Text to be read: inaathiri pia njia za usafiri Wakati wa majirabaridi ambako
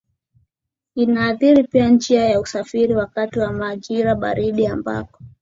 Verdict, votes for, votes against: accepted, 2, 0